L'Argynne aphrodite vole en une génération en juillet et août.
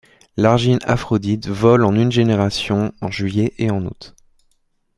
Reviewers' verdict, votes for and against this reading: rejected, 1, 2